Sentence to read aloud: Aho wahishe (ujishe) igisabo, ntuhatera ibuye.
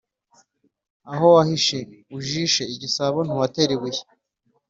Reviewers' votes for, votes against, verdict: 3, 0, accepted